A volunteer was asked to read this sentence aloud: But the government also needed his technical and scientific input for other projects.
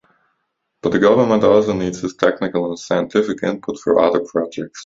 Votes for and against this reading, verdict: 0, 2, rejected